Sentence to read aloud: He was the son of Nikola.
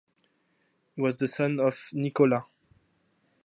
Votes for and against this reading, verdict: 2, 0, accepted